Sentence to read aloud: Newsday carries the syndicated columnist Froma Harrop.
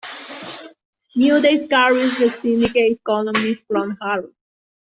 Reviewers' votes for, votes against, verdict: 0, 2, rejected